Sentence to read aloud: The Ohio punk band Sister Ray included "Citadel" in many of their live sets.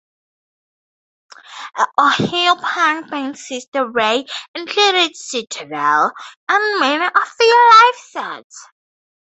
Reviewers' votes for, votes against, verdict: 2, 2, rejected